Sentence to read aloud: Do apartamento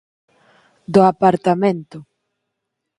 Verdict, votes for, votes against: accepted, 4, 0